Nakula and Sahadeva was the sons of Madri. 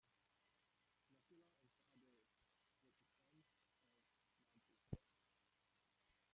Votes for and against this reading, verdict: 0, 2, rejected